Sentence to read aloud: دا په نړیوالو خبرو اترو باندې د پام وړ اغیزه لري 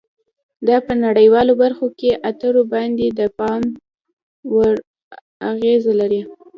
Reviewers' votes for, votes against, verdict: 4, 2, accepted